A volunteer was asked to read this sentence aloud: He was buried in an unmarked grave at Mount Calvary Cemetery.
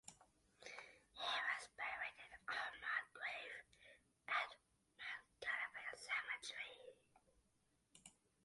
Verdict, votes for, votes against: accepted, 2, 1